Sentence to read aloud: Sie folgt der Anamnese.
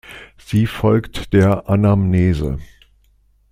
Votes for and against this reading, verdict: 2, 0, accepted